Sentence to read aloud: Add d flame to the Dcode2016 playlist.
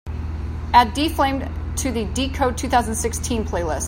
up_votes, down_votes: 0, 2